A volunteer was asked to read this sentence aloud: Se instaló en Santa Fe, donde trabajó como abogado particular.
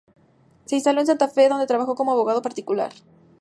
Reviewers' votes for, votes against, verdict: 6, 0, accepted